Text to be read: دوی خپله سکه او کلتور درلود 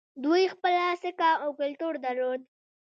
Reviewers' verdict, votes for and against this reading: rejected, 1, 2